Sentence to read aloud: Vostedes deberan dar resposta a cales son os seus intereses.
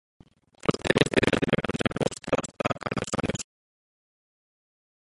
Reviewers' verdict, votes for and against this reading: rejected, 0, 2